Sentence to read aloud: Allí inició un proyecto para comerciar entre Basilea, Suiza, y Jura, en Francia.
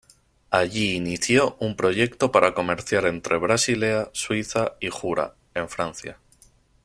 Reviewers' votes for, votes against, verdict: 2, 1, accepted